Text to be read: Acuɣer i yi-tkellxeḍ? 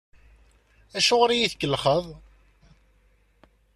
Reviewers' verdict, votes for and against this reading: accepted, 2, 0